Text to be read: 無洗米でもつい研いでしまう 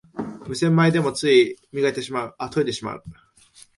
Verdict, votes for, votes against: rejected, 10, 13